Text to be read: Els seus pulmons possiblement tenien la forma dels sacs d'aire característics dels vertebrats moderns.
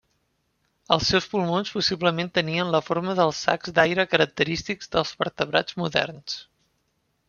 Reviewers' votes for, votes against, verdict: 3, 0, accepted